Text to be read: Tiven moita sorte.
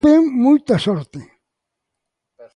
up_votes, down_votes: 1, 2